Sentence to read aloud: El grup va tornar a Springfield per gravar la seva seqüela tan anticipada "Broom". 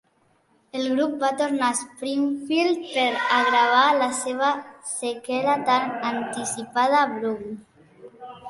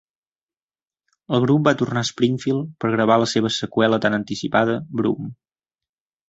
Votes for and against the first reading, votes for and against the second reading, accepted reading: 0, 2, 2, 0, second